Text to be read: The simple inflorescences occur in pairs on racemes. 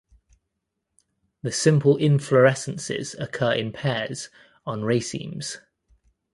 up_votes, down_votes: 1, 2